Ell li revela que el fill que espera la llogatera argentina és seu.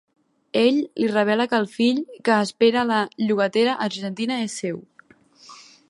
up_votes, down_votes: 2, 0